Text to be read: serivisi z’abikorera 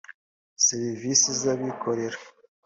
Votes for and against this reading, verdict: 2, 0, accepted